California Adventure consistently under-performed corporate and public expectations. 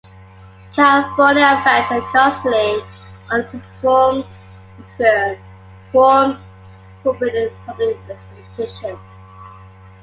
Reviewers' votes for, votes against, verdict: 0, 2, rejected